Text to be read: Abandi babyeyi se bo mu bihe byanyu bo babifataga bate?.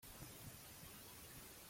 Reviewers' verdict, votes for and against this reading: rejected, 0, 2